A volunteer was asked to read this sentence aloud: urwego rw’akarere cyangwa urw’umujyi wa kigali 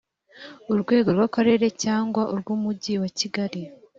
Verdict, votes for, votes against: accepted, 3, 0